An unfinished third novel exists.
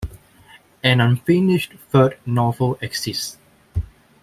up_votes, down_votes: 1, 2